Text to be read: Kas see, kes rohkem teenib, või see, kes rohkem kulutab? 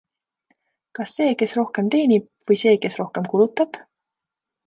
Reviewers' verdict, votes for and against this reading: accepted, 2, 0